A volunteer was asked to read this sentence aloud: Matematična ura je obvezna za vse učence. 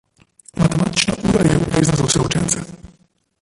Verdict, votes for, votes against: rejected, 0, 2